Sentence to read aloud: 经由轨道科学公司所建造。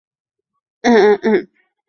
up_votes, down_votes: 0, 2